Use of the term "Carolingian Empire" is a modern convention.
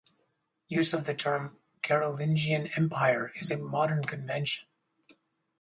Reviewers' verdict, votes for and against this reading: accepted, 4, 2